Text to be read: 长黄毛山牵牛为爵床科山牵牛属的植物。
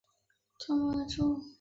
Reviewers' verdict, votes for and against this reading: rejected, 0, 2